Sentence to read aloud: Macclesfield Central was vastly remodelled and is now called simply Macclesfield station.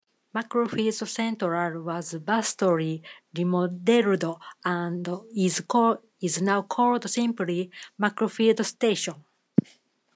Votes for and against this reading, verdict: 0, 2, rejected